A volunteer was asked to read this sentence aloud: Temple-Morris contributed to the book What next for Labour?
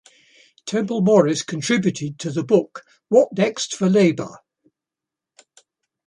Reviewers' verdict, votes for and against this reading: accepted, 2, 0